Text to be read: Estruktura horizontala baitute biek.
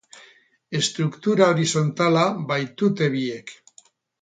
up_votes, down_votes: 2, 0